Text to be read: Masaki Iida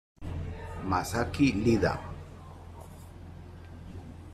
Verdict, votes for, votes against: accepted, 3, 0